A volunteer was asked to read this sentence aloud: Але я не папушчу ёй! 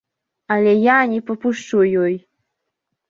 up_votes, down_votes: 4, 0